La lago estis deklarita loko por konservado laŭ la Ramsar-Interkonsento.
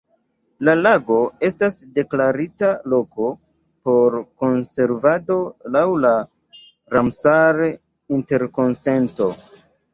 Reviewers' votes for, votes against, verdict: 2, 0, accepted